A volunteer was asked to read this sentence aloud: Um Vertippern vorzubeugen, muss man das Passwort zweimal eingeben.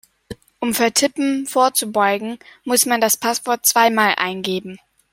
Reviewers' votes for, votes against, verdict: 0, 2, rejected